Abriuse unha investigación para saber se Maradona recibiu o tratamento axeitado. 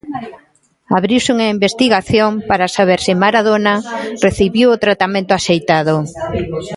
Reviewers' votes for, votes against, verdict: 1, 2, rejected